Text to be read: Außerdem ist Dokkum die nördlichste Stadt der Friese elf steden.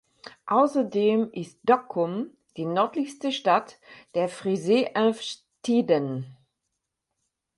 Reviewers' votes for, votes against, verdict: 2, 6, rejected